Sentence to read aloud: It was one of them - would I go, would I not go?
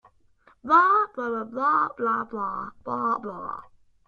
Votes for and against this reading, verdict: 0, 2, rejected